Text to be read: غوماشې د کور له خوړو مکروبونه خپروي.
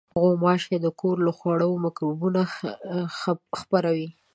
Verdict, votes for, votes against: rejected, 0, 2